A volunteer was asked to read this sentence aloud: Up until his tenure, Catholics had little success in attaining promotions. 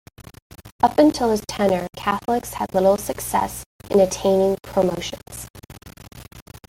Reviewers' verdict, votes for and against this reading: accepted, 2, 1